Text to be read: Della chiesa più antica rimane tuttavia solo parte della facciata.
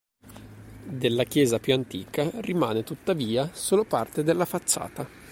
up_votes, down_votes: 2, 0